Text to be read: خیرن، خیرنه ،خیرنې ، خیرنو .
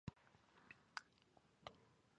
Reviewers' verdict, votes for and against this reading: rejected, 0, 3